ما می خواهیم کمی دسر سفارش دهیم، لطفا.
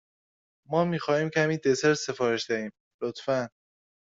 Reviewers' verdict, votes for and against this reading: accepted, 2, 1